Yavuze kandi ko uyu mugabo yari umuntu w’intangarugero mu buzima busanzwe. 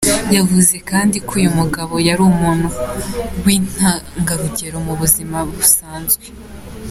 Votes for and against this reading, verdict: 2, 0, accepted